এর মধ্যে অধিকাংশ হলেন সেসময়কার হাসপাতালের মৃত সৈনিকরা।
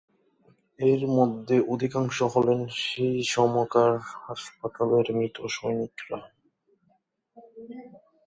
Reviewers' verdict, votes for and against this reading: rejected, 2, 4